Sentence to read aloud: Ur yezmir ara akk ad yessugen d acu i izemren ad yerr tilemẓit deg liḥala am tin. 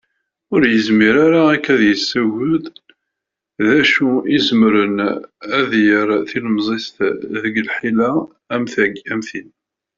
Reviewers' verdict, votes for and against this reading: rejected, 0, 2